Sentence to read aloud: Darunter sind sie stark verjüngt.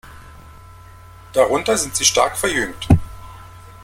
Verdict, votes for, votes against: accepted, 2, 0